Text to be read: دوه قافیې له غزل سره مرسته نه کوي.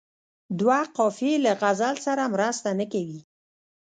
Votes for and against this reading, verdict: 0, 2, rejected